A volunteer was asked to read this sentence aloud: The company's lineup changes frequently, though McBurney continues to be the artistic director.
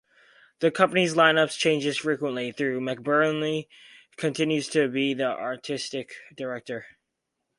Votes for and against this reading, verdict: 0, 2, rejected